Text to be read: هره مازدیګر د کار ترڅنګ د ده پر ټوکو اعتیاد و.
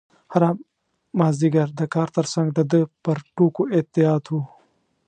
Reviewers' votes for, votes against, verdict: 2, 0, accepted